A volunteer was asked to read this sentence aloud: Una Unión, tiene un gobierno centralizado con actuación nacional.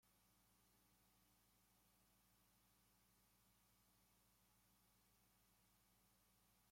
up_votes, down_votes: 0, 2